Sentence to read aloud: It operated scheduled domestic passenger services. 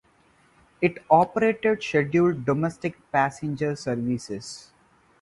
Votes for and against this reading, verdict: 4, 0, accepted